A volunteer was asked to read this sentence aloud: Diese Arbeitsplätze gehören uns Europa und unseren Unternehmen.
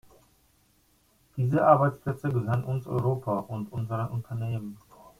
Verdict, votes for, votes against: rejected, 1, 2